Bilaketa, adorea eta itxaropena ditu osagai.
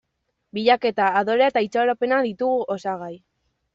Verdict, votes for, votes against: rejected, 1, 2